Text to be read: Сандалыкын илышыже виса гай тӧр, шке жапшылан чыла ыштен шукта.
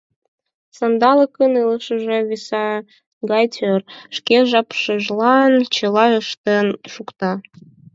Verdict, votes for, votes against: rejected, 0, 4